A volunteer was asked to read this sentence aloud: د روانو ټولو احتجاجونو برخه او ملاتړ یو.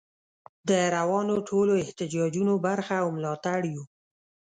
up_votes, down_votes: 2, 0